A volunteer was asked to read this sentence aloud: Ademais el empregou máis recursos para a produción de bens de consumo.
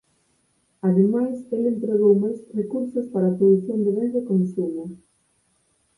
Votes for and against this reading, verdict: 4, 0, accepted